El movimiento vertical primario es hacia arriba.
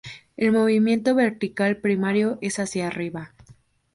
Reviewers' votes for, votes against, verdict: 2, 0, accepted